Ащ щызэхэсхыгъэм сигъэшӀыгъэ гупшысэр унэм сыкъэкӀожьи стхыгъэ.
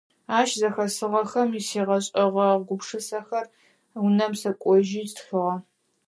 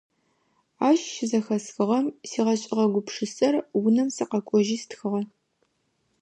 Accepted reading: second